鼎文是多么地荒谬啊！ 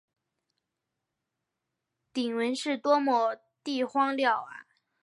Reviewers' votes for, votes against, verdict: 3, 0, accepted